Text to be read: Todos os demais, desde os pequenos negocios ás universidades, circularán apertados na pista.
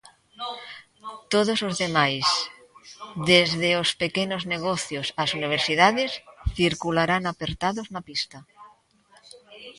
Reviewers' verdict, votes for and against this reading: accepted, 2, 1